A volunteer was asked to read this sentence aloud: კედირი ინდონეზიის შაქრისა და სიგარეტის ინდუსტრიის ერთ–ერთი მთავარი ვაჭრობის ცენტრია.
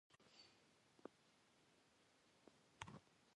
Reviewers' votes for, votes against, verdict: 1, 2, rejected